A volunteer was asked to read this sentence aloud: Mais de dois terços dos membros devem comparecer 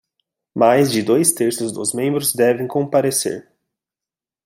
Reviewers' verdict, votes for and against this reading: accepted, 2, 0